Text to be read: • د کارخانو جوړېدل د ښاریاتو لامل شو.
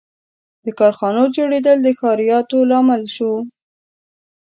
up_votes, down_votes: 2, 0